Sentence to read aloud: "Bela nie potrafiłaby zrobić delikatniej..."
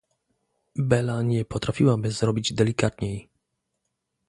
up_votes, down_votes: 2, 0